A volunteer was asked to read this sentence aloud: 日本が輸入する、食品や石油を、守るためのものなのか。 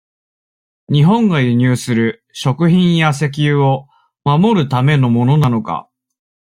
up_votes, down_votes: 2, 0